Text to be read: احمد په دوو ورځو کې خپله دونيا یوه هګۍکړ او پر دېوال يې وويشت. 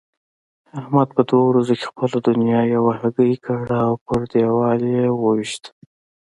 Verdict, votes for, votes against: rejected, 1, 2